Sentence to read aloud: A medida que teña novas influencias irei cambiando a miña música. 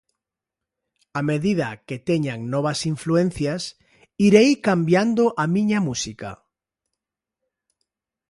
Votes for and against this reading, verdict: 0, 2, rejected